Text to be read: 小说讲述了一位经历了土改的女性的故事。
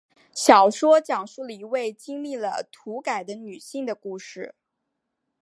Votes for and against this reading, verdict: 3, 0, accepted